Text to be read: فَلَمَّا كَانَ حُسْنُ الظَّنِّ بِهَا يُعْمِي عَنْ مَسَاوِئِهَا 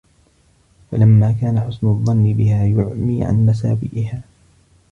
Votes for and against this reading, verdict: 2, 0, accepted